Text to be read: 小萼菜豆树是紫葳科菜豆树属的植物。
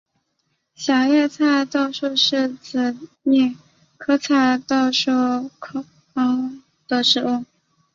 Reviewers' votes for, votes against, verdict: 0, 4, rejected